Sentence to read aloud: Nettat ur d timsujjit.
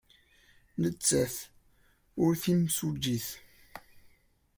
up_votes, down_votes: 2, 0